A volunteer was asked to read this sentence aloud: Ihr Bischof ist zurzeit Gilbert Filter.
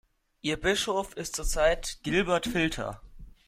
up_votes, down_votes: 2, 1